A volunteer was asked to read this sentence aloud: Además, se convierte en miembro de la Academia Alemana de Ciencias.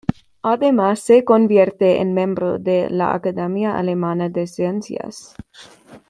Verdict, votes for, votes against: rejected, 1, 2